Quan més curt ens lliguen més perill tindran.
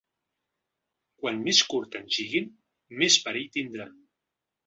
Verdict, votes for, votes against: accepted, 2, 1